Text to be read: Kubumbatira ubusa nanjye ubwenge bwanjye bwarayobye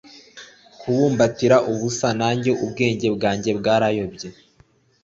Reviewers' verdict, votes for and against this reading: accepted, 2, 0